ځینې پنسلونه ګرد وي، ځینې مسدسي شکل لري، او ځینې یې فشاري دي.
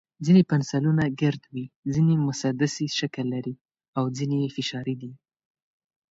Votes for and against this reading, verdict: 3, 0, accepted